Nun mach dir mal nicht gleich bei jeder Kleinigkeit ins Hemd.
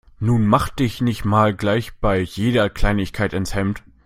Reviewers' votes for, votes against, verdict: 0, 2, rejected